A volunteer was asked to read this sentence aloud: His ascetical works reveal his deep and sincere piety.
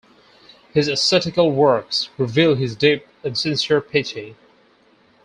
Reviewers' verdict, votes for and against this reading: accepted, 4, 0